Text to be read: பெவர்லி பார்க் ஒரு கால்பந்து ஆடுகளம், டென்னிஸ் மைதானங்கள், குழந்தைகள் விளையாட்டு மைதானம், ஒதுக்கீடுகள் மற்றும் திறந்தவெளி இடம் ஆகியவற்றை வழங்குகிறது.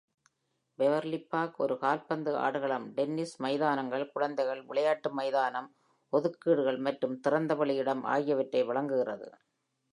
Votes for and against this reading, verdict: 2, 0, accepted